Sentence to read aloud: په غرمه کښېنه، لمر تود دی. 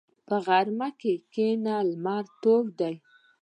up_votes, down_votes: 2, 0